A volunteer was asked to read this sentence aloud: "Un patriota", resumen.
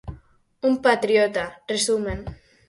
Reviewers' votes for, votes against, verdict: 4, 0, accepted